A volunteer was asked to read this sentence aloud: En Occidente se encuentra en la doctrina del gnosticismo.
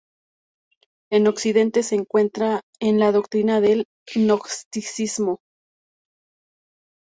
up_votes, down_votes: 0, 2